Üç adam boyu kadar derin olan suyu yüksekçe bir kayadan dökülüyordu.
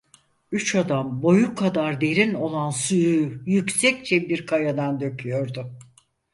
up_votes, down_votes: 2, 4